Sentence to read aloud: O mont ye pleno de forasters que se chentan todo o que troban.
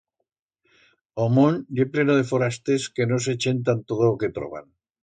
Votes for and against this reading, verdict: 1, 2, rejected